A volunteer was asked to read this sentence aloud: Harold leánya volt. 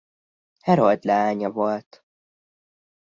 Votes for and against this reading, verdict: 2, 0, accepted